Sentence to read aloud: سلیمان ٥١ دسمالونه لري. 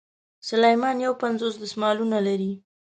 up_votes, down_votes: 0, 2